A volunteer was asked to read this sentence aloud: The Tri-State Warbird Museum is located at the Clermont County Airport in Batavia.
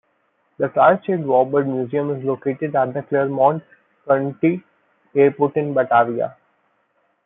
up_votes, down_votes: 0, 2